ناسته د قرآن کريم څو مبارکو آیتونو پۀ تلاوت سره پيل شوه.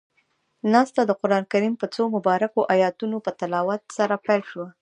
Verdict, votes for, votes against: rejected, 0, 2